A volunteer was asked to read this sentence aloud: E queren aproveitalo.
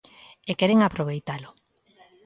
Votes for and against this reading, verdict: 2, 0, accepted